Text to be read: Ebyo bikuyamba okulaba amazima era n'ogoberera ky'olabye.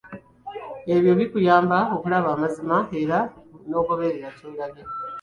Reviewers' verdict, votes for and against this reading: rejected, 0, 2